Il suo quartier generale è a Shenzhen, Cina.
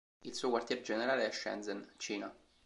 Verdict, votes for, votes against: rejected, 0, 2